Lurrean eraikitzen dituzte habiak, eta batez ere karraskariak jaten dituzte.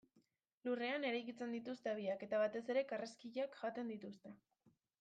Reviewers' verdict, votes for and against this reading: rejected, 0, 2